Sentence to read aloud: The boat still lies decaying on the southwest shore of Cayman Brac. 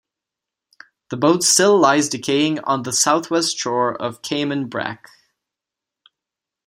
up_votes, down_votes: 2, 0